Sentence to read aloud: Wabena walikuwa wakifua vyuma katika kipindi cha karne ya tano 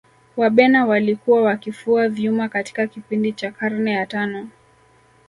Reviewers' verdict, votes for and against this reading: accepted, 2, 0